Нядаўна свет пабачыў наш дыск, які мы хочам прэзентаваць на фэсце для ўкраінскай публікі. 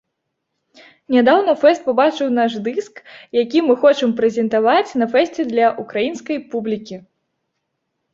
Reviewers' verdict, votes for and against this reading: rejected, 0, 2